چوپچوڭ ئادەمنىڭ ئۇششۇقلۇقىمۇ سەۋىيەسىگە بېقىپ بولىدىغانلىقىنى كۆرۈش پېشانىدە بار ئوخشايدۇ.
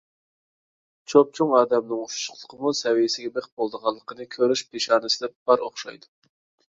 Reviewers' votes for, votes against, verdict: 1, 2, rejected